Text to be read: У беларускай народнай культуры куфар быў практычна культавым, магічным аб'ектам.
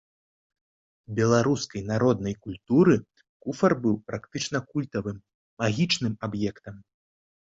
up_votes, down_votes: 1, 2